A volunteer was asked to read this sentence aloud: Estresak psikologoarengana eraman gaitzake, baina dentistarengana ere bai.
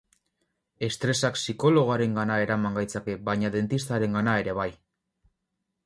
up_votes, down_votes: 4, 0